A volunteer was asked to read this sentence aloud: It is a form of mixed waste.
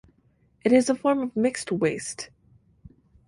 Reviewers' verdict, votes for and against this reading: accepted, 4, 0